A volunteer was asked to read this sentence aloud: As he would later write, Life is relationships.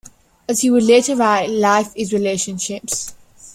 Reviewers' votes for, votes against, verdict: 2, 0, accepted